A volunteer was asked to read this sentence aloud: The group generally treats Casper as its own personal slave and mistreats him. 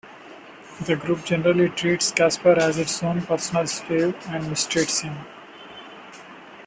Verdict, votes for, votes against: accepted, 2, 0